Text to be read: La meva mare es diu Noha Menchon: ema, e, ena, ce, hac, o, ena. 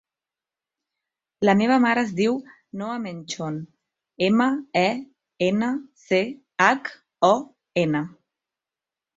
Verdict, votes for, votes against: rejected, 1, 2